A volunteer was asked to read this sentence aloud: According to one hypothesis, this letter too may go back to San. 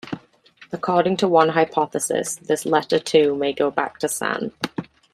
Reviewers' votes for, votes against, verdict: 2, 0, accepted